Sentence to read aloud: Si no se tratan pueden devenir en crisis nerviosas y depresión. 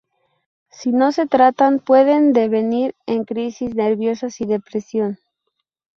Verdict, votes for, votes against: rejected, 0, 2